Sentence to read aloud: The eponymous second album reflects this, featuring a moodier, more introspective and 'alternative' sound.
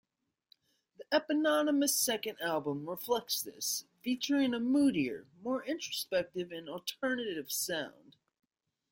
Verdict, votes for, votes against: accepted, 2, 1